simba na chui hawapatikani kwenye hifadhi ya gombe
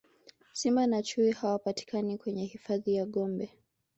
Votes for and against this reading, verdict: 2, 0, accepted